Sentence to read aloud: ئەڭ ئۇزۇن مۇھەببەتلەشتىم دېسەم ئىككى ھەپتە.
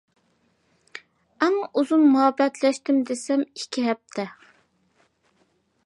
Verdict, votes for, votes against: accepted, 2, 0